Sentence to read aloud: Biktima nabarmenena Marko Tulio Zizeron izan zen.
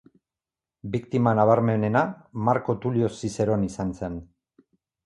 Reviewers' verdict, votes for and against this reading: rejected, 0, 4